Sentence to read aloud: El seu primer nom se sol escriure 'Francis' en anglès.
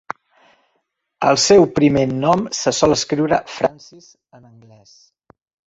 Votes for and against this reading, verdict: 1, 2, rejected